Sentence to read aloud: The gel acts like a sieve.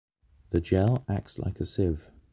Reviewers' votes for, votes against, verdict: 0, 2, rejected